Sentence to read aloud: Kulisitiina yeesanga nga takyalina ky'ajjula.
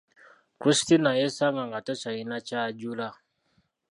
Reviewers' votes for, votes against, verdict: 1, 2, rejected